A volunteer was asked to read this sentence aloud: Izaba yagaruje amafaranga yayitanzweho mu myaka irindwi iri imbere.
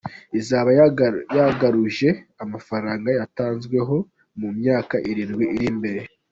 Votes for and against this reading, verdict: 4, 3, accepted